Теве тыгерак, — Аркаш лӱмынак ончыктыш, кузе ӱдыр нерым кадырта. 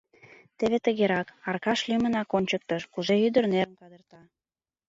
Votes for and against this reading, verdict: 1, 5, rejected